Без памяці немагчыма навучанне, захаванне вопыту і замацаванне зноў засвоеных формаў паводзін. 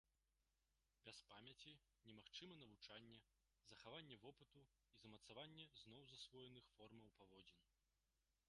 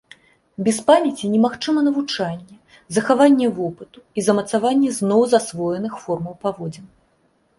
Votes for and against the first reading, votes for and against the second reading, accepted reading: 0, 2, 2, 0, second